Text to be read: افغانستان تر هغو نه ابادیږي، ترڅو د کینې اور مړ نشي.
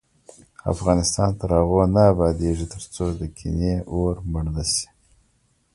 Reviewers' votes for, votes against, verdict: 2, 0, accepted